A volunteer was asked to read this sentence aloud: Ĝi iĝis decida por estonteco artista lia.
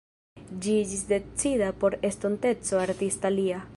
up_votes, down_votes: 0, 2